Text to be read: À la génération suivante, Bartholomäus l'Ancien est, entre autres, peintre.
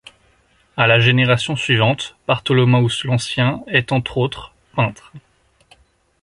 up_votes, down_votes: 2, 0